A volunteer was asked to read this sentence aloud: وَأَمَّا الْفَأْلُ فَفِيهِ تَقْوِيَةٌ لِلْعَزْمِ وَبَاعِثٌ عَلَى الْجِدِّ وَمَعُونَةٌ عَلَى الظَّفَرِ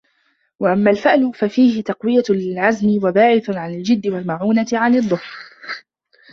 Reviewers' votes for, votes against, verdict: 1, 2, rejected